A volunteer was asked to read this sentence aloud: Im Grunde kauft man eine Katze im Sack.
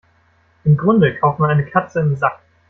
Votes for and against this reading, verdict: 1, 2, rejected